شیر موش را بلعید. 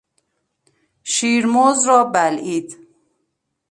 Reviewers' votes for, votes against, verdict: 0, 2, rejected